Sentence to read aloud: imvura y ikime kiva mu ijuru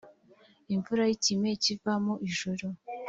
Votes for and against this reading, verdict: 2, 0, accepted